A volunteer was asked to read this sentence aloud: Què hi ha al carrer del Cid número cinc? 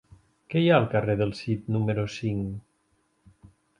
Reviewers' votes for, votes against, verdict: 3, 0, accepted